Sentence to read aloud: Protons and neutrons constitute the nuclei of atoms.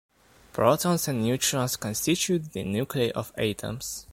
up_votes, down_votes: 0, 2